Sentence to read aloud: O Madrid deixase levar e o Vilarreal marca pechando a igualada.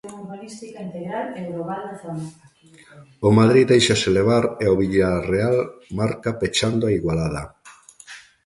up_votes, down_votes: 0, 2